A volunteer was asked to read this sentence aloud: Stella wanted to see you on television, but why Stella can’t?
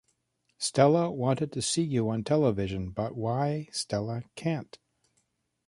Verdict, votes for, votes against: accepted, 2, 0